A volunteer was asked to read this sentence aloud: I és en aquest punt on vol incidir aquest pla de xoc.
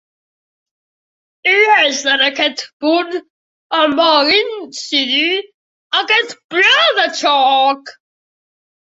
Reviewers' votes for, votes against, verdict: 1, 2, rejected